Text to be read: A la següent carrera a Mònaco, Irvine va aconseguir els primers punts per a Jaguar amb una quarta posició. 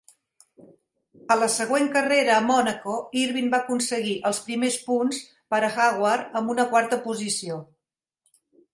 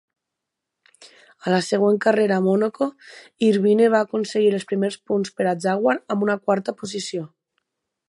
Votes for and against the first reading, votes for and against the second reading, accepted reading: 0, 2, 4, 2, second